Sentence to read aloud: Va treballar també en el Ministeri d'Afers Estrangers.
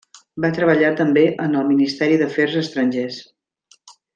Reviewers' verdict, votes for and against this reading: accepted, 3, 0